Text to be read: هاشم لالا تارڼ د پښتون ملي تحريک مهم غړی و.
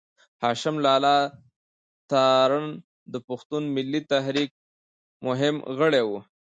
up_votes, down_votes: 0, 2